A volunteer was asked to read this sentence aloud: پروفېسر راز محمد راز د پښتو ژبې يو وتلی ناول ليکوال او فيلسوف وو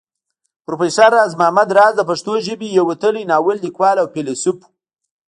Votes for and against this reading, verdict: 1, 2, rejected